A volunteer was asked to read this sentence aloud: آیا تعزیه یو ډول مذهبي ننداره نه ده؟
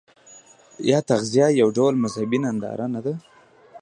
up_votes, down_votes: 1, 2